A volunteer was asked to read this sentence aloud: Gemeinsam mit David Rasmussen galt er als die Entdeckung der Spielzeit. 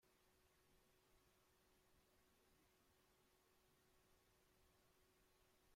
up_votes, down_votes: 0, 2